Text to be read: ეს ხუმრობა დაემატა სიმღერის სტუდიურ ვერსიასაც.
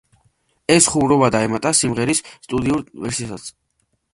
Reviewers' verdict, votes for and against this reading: accepted, 3, 0